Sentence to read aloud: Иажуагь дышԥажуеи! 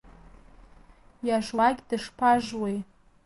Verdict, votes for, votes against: rejected, 1, 2